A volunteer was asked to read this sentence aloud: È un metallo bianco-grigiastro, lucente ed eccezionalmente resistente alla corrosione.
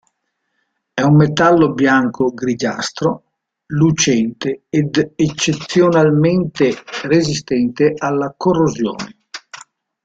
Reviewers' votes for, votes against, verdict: 2, 0, accepted